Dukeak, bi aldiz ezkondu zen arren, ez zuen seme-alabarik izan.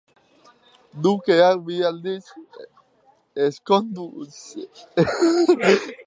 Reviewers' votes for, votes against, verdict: 0, 2, rejected